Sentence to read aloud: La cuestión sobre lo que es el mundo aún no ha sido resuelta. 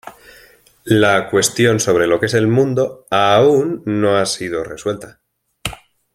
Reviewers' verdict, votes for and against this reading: accepted, 2, 0